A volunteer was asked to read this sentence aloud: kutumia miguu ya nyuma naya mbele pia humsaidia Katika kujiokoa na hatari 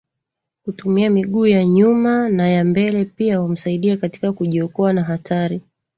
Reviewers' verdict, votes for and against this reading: accepted, 2, 0